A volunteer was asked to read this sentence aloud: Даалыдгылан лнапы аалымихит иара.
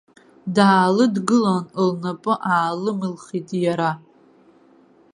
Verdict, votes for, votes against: rejected, 1, 2